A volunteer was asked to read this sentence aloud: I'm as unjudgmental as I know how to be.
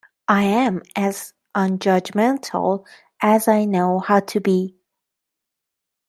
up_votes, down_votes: 1, 2